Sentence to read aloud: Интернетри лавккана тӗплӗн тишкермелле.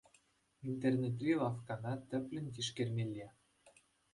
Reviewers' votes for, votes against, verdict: 2, 0, accepted